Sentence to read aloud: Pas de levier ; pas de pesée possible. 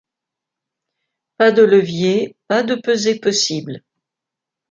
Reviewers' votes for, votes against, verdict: 2, 0, accepted